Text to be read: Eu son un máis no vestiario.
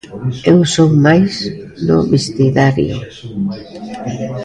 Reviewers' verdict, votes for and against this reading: rejected, 0, 2